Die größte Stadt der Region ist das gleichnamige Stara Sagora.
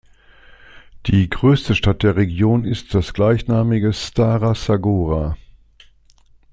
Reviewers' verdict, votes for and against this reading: accepted, 2, 0